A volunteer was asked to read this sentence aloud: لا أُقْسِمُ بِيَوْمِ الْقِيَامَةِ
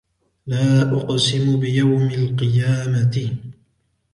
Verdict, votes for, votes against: accepted, 2, 0